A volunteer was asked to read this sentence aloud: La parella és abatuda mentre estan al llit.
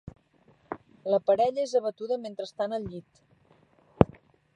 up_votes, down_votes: 2, 1